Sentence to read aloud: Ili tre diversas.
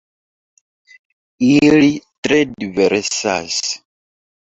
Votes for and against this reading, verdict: 1, 2, rejected